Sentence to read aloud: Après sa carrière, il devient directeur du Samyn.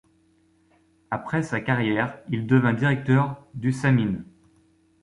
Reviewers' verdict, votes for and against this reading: rejected, 0, 2